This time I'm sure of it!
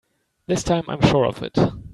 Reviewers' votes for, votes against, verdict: 3, 0, accepted